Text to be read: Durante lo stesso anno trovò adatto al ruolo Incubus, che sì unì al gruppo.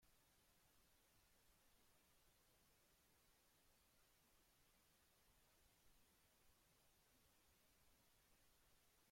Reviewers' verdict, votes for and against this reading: rejected, 0, 2